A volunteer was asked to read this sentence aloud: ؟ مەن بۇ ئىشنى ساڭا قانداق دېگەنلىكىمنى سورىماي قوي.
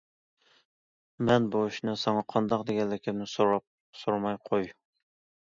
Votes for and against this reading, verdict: 0, 2, rejected